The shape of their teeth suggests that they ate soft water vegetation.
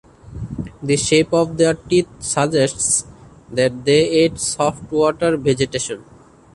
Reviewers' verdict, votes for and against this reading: rejected, 1, 2